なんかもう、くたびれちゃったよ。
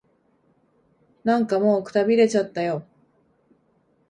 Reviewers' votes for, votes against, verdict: 2, 0, accepted